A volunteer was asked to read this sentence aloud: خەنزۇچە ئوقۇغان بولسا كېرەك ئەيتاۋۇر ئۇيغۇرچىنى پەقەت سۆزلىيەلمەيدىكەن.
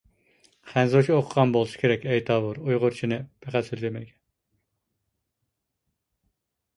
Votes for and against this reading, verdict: 0, 2, rejected